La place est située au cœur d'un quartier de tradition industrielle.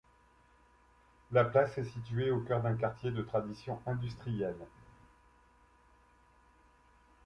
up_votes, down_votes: 2, 1